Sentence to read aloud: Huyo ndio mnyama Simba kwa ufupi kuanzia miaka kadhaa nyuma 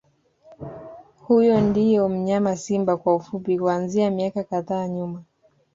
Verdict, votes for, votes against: accepted, 2, 0